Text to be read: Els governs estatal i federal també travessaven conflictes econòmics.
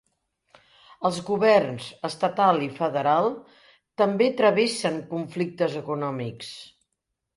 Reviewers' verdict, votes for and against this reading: rejected, 0, 2